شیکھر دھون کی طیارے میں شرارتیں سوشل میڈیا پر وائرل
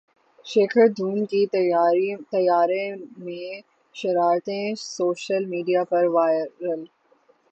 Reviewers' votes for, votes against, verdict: 0, 6, rejected